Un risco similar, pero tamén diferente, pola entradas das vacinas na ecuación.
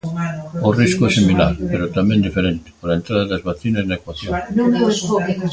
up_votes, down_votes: 0, 2